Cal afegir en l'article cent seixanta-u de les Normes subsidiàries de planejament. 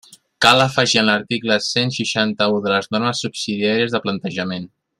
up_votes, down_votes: 0, 2